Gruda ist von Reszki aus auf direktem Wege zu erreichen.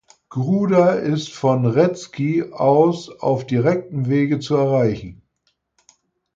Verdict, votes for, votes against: accepted, 4, 0